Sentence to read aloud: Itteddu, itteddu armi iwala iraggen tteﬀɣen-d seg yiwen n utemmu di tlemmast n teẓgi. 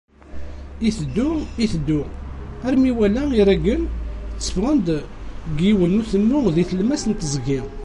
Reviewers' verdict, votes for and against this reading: accepted, 2, 0